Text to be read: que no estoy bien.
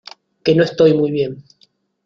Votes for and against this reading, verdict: 0, 2, rejected